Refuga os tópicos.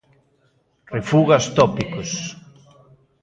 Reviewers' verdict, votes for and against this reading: accepted, 2, 1